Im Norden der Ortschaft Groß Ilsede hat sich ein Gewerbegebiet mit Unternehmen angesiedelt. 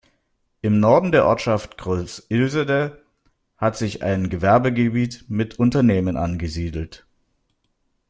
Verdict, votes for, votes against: accepted, 2, 0